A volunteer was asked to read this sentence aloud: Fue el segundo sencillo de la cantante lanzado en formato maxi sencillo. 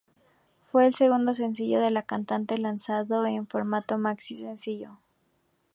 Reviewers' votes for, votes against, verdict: 2, 0, accepted